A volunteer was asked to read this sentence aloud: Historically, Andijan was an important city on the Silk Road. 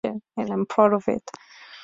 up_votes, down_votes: 0, 2